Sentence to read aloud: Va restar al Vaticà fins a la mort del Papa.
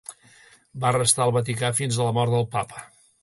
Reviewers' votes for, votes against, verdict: 2, 0, accepted